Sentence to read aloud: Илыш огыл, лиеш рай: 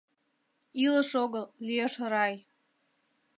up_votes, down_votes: 2, 0